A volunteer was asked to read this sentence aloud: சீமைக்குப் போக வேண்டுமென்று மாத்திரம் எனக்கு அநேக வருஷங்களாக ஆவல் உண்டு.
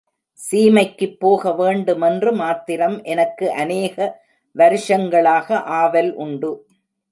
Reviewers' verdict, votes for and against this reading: accepted, 2, 0